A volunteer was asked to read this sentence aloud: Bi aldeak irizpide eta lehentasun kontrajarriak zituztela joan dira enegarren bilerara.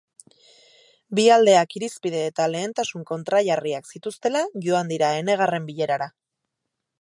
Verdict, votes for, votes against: rejected, 2, 2